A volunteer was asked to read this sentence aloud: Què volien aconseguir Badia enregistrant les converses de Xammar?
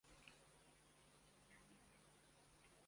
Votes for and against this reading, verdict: 0, 2, rejected